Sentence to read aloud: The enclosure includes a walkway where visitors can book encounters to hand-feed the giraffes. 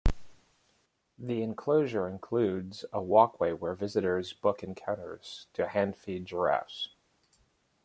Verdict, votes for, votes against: rejected, 1, 2